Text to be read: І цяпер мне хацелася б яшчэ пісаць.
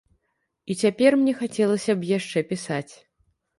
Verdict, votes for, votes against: accepted, 2, 0